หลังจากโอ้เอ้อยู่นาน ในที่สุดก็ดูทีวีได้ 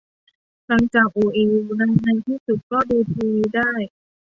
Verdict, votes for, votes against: rejected, 1, 2